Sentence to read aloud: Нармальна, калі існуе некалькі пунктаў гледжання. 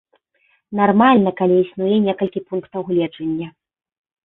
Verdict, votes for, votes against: accepted, 3, 0